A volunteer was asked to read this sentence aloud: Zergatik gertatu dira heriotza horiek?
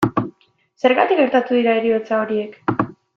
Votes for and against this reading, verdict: 2, 0, accepted